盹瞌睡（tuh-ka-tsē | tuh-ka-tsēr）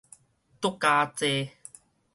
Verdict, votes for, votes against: rejected, 2, 2